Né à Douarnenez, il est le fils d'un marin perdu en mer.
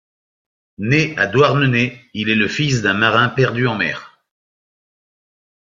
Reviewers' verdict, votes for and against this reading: accepted, 2, 0